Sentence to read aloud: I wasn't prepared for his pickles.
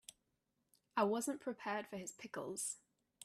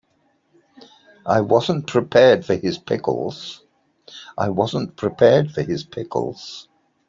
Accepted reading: first